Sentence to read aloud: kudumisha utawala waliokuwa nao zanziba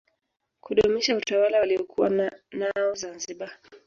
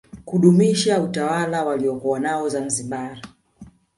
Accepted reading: first